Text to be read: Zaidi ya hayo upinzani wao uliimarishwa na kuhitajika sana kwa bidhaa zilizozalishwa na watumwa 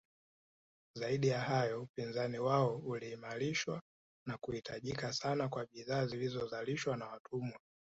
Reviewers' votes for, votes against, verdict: 2, 0, accepted